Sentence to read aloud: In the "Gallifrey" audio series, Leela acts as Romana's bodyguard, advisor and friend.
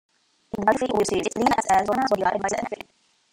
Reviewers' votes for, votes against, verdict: 0, 2, rejected